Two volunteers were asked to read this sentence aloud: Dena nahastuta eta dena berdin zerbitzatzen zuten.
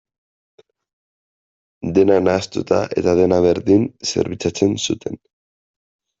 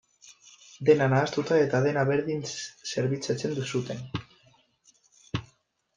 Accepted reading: first